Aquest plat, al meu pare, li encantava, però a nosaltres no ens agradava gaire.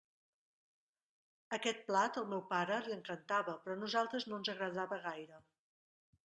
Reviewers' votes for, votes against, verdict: 2, 1, accepted